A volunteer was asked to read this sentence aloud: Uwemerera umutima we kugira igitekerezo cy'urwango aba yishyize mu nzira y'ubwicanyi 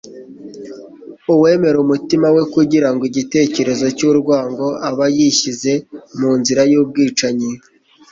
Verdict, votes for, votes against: rejected, 1, 2